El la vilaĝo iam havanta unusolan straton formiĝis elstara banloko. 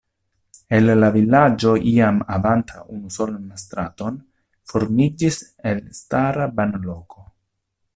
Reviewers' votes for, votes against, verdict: 0, 2, rejected